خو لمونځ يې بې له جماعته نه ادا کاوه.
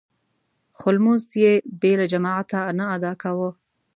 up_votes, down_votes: 2, 0